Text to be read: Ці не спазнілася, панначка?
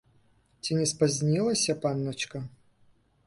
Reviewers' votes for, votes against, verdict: 2, 0, accepted